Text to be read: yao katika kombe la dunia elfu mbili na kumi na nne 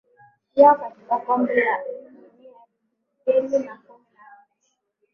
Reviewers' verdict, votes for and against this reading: rejected, 1, 2